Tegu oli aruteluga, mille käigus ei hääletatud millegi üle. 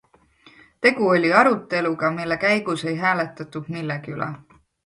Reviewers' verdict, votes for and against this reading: accepted, 2, 0